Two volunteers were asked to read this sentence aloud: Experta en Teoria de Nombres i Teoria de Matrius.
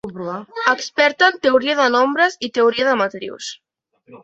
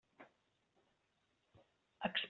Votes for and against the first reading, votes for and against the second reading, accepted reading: 4, 0, 0, 2, first